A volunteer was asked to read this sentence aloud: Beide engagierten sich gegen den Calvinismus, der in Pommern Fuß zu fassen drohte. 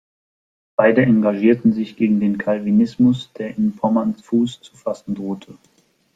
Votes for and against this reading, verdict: 2, 0, accepted